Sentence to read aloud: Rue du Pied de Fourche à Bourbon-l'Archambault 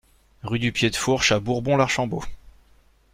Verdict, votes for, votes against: accepted, 2, 0